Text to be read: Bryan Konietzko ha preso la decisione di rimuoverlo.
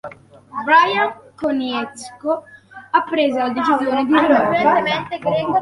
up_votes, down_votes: 0, 2